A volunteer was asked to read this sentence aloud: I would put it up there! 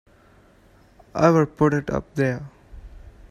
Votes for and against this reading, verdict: 2, 0, accepted